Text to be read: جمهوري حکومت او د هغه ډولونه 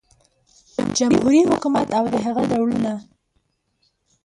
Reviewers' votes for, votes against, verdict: 1, 2, rejected